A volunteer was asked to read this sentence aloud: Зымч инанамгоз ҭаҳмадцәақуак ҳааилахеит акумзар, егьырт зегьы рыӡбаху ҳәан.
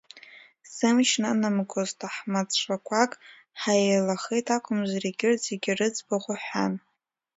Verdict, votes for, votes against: rejected, 0, 2